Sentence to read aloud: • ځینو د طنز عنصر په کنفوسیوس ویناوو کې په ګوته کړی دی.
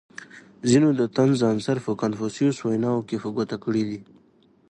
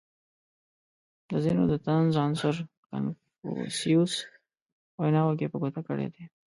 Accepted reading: second